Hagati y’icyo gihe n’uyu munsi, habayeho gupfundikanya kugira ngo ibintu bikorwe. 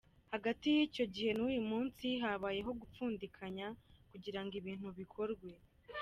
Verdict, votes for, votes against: accepted, 2, 0